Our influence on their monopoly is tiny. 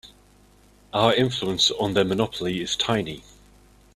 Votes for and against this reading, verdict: 2, 0, accepted